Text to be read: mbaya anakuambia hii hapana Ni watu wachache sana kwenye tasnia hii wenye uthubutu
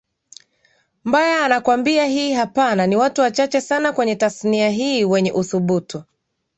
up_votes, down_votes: 2, 1